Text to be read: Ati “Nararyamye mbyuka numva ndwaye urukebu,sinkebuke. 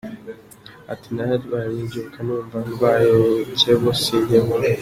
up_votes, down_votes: 0, 2